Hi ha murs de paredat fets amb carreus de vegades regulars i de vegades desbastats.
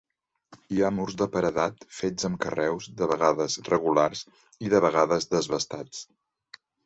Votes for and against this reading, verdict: 2, 0, accepted